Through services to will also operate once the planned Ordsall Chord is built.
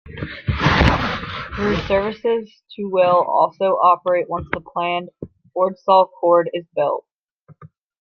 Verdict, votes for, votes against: rejected, 1, 2